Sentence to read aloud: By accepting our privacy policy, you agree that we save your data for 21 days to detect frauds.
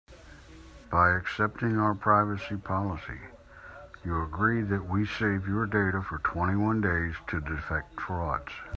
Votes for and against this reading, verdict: 0, 2, rejected